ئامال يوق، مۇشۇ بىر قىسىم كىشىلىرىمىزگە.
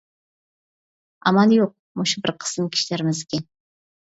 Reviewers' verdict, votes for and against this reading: accepted, 2, 1